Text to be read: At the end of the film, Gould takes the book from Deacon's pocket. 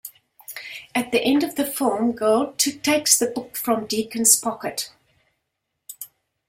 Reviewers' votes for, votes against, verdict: 1, 2, rejected